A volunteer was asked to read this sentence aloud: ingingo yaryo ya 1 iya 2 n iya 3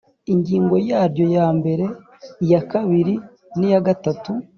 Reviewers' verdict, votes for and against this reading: rejected, 0, 2